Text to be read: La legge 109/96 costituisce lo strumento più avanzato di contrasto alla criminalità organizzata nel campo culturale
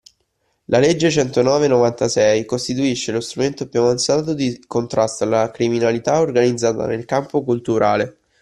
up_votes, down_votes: 0, 2